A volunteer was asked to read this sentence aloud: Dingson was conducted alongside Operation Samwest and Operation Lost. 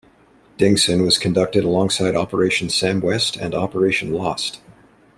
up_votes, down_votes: 2, 0